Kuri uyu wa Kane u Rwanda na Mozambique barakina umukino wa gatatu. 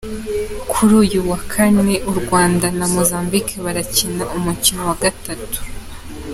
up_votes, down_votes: 2, 0